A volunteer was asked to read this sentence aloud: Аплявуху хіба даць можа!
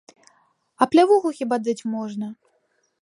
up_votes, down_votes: 0, 2